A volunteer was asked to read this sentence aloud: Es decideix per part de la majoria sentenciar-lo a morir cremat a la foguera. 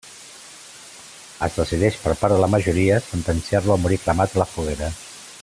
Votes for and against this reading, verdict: 2, 0, accepted